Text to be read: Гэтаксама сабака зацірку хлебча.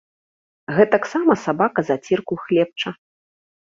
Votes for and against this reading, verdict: 2, 0, accepted